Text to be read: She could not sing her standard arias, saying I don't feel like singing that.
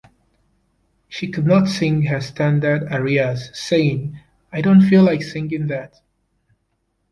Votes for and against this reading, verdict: 1, 2, rejected